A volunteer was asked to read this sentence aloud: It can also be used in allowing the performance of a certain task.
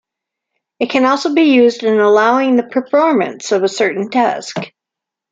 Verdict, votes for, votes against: accepted, 2, 0